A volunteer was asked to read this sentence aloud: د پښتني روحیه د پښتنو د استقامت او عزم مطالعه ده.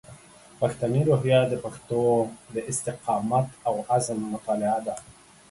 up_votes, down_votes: 1, 2